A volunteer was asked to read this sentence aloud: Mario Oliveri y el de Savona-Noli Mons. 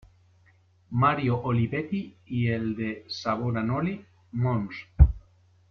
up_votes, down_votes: 0, 3